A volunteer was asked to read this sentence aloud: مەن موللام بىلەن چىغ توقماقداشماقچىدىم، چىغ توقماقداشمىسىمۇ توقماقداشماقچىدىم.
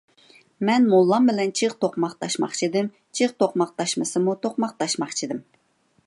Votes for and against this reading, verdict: 2, 0, accepted